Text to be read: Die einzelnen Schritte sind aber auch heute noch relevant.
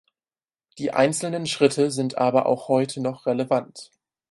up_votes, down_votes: 4, 0